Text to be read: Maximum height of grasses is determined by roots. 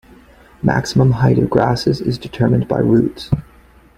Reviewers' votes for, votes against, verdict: 2, 0, accepted